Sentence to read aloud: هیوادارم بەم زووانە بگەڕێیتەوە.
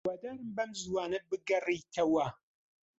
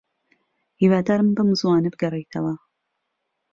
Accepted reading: second